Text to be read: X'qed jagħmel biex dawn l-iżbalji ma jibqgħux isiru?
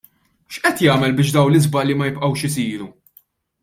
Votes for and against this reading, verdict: 2, 0, accepted